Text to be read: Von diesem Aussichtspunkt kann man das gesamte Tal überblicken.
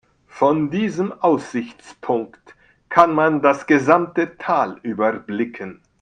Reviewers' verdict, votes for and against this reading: rejected, 0, 2